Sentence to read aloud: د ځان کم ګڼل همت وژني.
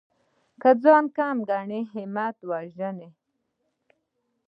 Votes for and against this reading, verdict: 1, 2, rejected